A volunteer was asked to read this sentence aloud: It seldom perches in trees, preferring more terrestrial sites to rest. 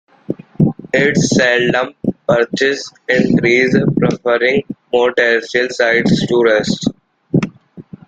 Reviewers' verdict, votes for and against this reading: rejected, 0, 3